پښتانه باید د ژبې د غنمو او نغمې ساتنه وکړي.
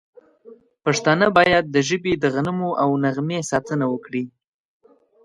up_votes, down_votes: 2, 0